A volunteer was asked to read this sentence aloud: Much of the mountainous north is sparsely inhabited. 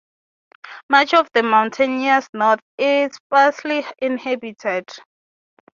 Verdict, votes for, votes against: rejected, 0, 3